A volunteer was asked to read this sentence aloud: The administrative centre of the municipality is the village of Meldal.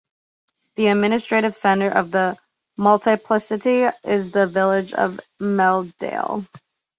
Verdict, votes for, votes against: rejected, 1, 2